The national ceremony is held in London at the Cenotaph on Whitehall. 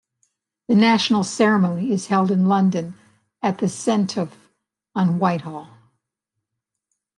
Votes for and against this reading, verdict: 2, 1, accepted